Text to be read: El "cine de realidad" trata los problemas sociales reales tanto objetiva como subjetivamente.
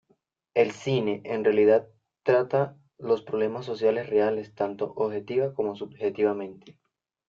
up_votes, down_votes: 1, 2